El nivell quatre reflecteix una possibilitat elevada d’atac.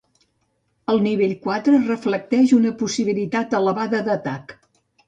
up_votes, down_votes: 2, 0